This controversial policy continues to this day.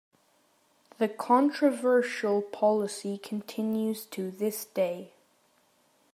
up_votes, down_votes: 0, 2